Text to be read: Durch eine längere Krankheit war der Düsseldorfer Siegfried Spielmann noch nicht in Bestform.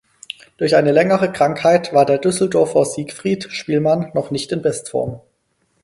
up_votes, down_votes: 4, 0